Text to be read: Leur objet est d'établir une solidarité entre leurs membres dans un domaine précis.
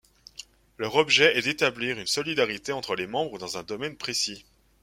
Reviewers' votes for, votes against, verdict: 1, 2, rejected